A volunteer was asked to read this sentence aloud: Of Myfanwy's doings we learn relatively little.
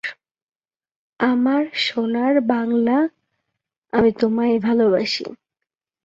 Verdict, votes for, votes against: rejected, 1, 2